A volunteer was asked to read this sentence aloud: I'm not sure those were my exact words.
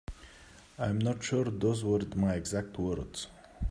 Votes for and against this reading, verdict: 1, 2, rejected